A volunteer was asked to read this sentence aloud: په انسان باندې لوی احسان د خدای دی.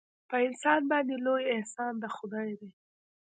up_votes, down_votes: 1, 2